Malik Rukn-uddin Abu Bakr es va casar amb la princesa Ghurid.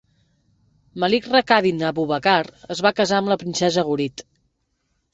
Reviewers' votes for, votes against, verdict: 2, 0, accepted